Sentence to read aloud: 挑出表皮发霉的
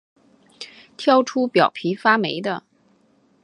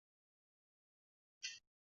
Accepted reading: first